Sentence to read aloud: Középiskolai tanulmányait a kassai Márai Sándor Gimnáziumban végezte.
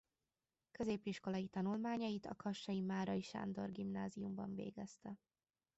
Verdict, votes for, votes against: rejected, 0, 2